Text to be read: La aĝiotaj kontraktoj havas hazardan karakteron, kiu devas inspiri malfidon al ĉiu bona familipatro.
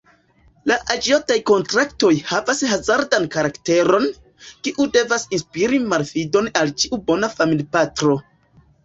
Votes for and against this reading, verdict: 1, 2, rejected